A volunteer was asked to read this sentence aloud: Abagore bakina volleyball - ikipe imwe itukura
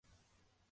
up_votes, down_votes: 0, 2